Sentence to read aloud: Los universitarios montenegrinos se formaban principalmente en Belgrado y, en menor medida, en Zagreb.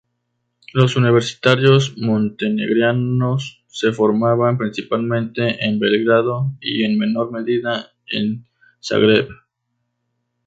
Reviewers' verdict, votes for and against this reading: rejected, 0, 2